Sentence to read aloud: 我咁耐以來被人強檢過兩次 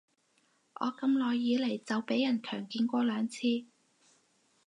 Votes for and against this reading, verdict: 4, 2, accepted